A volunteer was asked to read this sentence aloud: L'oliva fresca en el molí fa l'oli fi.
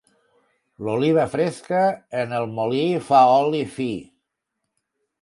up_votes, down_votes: 1, 2